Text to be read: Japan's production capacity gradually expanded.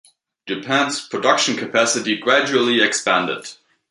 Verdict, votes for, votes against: accepted, 2, 0